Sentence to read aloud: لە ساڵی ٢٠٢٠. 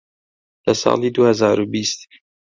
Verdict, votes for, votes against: rejected, 0, 2